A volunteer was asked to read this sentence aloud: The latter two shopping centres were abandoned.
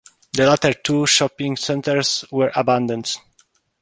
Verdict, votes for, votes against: accepted, 2, 0